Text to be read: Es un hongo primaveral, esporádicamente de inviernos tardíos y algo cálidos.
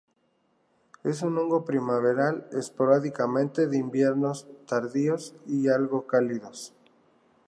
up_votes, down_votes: 2, 0